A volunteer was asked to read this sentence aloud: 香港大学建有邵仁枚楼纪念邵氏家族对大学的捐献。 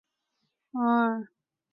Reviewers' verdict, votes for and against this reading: rejected, 1, 4